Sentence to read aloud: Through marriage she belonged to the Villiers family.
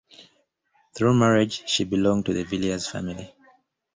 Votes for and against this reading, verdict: 2, 0, accepted